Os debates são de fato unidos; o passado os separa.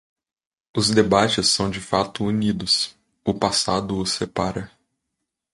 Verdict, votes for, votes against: accepted, 2, 0